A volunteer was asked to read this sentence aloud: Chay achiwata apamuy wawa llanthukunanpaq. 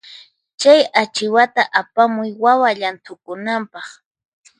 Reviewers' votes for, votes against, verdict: 4, 0, accepted